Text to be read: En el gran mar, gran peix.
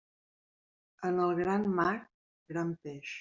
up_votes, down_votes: 1, 2